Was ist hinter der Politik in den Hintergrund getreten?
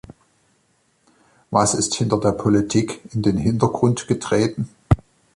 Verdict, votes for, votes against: accepted, 2, 0